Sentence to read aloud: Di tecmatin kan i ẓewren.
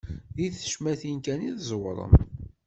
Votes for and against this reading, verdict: 1, 2, rejected